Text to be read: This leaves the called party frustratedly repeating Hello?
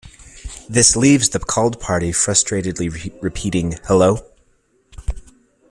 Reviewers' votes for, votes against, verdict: 1, 2, rejected